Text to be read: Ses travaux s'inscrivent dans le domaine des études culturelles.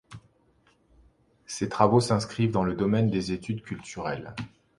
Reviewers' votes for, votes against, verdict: 2, 0, accepted